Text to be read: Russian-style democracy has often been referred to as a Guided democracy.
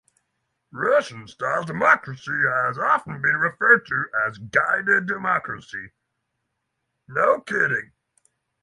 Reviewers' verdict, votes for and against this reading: rejected, 0, 6